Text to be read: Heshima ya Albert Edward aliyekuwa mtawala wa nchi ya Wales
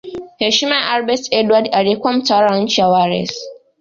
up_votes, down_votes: 2, 0